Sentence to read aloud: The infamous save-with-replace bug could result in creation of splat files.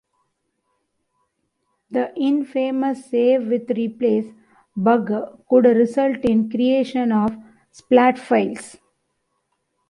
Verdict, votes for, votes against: accepted, 2, 0